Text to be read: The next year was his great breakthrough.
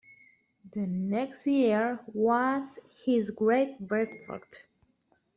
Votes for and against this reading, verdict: 2, 1, accepted